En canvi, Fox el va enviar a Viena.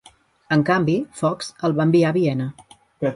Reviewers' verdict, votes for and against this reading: rejected, 1, 2